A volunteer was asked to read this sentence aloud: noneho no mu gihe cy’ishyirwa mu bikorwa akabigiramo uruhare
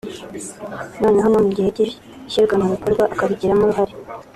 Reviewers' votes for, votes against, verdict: 1, 2, rejected